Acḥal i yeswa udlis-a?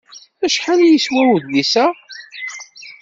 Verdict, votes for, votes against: accepted, 2, 0